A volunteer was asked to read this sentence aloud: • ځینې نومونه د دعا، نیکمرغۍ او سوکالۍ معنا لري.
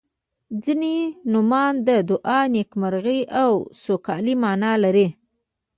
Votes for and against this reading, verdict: 1, 2, rejected